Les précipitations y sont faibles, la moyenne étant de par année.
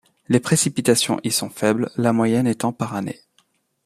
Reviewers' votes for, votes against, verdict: 0, 2, rejected